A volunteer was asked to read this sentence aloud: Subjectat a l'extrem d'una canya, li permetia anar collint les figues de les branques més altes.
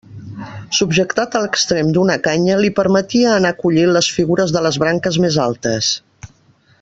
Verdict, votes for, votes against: rejected, 1, 2